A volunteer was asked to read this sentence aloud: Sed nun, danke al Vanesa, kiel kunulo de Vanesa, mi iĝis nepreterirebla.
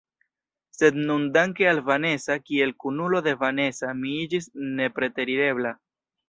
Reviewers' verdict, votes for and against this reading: rejected, 1, 2